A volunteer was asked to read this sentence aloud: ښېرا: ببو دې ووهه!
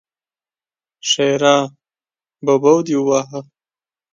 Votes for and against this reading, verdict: 2, 1, accepted